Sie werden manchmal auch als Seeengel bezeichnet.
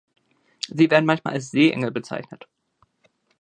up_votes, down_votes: 1, 2